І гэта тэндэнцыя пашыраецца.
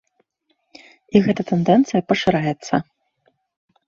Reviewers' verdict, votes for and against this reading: accepted, 2, 0